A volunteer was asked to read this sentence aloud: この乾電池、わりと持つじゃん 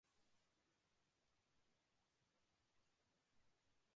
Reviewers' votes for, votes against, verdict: 1, 6, rejected